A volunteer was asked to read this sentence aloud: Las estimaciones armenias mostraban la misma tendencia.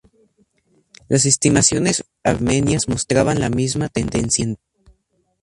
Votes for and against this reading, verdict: 0, 2, rejected